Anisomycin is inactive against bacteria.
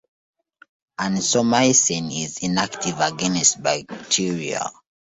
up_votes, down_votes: 1, 2